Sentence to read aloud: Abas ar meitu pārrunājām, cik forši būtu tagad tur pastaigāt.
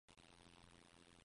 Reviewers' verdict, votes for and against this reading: rejected, 0, 2